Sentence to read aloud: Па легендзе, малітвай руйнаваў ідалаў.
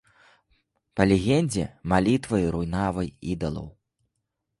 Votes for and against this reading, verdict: 0, 2, rejected